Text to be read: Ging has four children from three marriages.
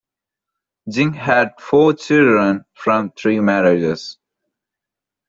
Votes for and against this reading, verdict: 1, 2, rejected